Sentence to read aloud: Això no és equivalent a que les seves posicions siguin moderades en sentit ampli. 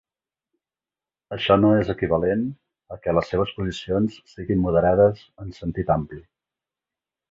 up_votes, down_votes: 4, 0